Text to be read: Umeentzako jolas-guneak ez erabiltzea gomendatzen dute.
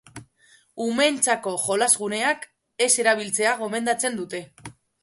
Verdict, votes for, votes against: accepted, 2, 0